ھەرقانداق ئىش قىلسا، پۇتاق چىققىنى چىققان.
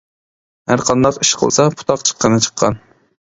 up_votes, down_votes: 2, 0